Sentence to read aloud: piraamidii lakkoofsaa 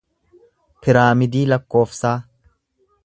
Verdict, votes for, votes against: accepted, 2, 0